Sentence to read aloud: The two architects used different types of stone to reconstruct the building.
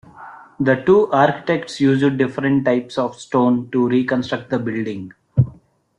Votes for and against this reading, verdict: 0, 2, rejected